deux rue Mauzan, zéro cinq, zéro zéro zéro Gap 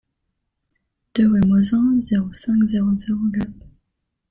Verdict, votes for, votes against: rejected, 1, 2